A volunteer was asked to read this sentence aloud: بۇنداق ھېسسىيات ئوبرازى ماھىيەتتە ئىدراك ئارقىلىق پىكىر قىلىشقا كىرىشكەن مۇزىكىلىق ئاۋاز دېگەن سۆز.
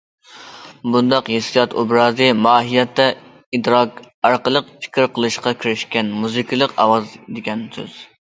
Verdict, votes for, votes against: accepted, 2, 0